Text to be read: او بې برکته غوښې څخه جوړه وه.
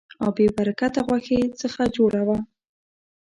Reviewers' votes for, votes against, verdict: 2, 0, accepted